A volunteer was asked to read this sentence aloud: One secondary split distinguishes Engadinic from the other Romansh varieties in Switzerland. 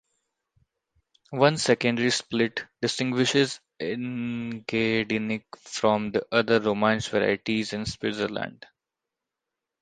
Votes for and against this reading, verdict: 1, 2, rejected